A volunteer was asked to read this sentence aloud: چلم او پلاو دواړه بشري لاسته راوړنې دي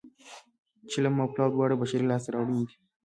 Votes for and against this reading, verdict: 3, 1, accepted